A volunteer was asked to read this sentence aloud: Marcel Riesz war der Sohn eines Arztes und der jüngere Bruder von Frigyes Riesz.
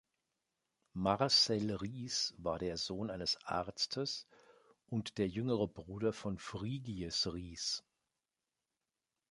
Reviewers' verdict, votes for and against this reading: accepted, 2, 0